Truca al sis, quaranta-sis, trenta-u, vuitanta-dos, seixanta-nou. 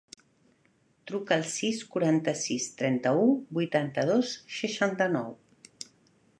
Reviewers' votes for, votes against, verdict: 3, 0, accepted